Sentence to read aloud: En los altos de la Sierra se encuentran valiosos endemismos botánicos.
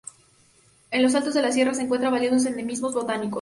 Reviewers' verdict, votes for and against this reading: accepted, 2, 0